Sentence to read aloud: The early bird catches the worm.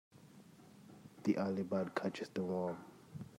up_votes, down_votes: 1, 2